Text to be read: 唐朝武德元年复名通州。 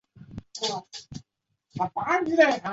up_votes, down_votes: 0, 2